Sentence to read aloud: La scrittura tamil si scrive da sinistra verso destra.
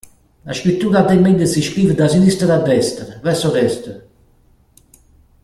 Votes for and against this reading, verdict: 0, 2, rejected